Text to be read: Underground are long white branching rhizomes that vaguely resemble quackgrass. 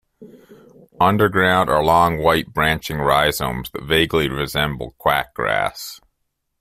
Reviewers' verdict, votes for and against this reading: accepted, 2, 0